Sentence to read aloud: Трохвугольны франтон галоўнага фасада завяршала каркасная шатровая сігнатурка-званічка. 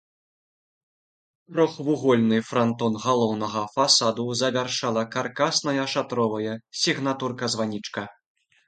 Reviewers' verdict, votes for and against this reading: accepted, 2, 1